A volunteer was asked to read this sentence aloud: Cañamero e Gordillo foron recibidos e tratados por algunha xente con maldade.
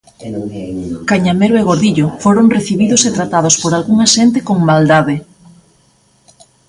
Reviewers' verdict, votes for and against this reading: accepted, 2, 0